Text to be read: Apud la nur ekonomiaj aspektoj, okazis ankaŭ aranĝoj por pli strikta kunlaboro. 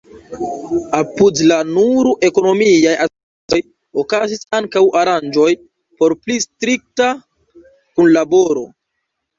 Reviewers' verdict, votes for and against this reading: rejected, 1, 2